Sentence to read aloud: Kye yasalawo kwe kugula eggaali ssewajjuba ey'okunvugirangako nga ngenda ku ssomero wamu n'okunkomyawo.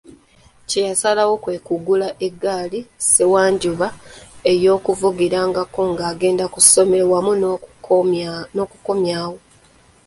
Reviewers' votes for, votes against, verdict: 0, 2, rejected